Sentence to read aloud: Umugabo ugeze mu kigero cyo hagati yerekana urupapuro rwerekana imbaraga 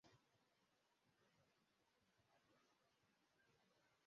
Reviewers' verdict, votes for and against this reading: rejected, 0, 2